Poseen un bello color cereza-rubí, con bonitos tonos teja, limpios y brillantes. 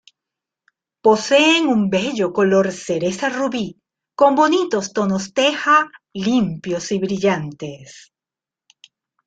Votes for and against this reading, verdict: 2, 0, accepted